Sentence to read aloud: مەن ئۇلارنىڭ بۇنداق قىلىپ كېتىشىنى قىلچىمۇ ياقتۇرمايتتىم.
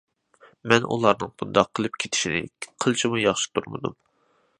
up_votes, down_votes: 0, 2